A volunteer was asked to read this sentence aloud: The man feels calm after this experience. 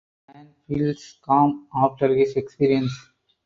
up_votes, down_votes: 2, 4